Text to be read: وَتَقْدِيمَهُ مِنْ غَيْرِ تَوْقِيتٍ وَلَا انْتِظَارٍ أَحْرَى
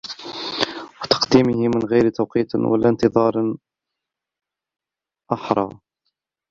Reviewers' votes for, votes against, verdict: 0, 2, rejected